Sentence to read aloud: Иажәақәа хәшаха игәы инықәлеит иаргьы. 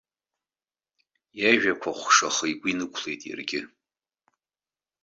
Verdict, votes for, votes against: accepted, 2, 0